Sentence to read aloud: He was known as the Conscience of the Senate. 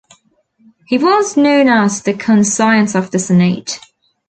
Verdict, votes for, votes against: rejected, 1, 2